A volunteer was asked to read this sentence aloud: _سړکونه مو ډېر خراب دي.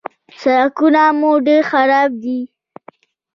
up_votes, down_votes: 1, 2